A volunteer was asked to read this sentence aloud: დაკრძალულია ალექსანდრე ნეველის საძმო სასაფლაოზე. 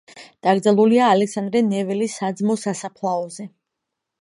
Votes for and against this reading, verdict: 2, 0, accepted